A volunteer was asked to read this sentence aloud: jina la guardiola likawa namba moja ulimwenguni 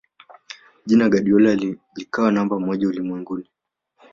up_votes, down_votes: 0, 2